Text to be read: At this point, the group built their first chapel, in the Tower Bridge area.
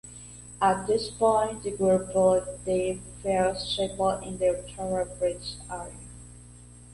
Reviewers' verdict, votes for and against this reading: accepted, 2, 0